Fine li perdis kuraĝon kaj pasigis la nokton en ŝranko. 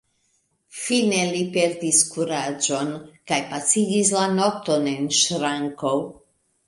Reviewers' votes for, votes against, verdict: 1, 2, rejected